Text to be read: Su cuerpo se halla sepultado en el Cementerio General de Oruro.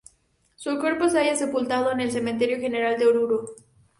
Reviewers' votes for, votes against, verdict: 2, 2, rejected